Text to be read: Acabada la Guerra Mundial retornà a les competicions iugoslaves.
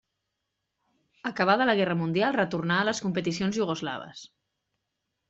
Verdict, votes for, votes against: accepted, 2, 0